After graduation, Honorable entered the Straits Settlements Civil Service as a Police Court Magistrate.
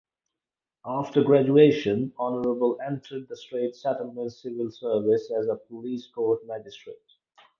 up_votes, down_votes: 4, 0